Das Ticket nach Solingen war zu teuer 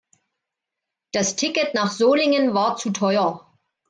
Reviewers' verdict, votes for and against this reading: accepted, 2, 0